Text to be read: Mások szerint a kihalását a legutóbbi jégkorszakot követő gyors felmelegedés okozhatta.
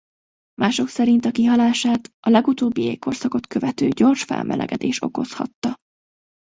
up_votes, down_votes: 2, 0